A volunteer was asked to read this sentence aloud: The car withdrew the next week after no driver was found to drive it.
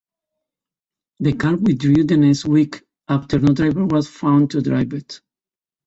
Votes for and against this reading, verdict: 2, 0, accepted